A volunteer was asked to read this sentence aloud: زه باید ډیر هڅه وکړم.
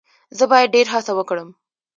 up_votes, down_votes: 0, 2